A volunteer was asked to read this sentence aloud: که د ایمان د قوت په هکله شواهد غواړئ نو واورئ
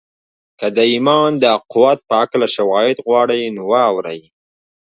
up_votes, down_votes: 2, 3